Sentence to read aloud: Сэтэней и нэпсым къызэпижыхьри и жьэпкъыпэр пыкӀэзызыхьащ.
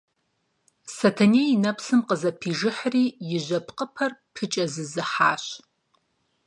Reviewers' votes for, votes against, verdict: 4, 0, accepted